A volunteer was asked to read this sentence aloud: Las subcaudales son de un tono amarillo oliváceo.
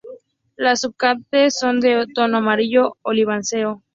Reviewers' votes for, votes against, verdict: 0, 4, rejected